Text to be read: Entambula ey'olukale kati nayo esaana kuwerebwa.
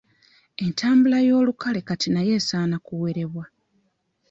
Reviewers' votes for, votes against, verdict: 1, 2, rejected